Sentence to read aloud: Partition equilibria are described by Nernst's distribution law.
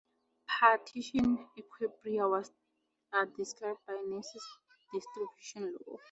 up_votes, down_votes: 0, 4